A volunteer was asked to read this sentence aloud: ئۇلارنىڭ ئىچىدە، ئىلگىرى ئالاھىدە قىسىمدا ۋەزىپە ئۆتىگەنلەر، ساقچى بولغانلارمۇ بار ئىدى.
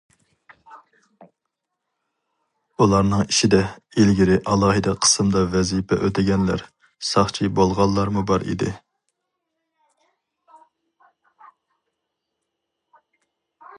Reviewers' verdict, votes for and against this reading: accepted, 2, 0